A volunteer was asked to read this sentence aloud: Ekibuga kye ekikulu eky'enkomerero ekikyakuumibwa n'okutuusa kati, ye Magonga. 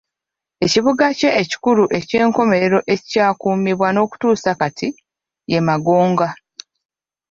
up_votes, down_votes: 0, 2